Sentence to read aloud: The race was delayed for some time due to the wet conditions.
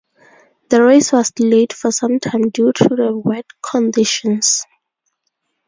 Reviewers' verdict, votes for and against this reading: accepted, 4, 0